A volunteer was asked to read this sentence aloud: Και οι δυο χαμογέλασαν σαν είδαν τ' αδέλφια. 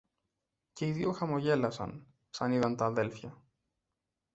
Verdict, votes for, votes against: accepted, 2, 0